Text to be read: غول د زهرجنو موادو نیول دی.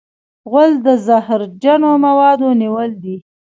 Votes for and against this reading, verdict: 2, 1, accepted